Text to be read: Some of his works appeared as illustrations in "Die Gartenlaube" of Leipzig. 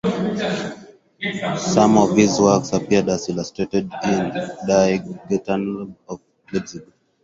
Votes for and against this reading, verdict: 0, 4, rejected